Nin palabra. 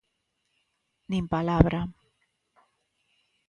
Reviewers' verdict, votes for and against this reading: accepted, 2, 0